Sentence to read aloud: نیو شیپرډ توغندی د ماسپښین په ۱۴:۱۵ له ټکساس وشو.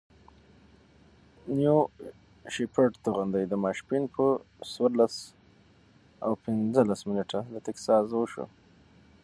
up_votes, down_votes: 0, 2